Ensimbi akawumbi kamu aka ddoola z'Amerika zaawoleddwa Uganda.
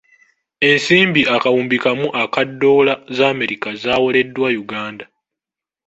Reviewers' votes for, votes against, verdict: 3, 0, accepted